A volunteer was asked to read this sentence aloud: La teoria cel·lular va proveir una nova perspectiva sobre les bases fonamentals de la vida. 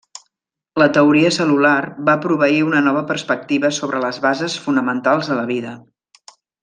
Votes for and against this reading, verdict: 3, 0, accepted